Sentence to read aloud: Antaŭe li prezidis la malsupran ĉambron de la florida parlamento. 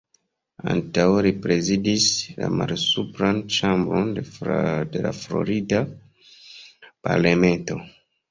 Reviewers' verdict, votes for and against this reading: rejected, 1, 2